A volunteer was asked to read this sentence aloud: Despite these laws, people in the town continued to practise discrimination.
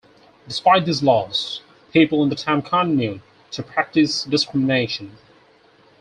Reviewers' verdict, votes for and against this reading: rejected, 2, 6